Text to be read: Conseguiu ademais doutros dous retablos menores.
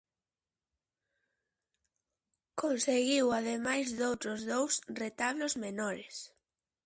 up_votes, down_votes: 2, 0